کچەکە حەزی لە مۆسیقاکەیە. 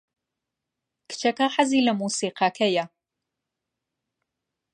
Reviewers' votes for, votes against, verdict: 2, 0, accepted